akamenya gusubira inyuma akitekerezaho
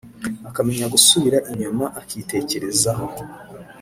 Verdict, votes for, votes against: accepted, 2, 0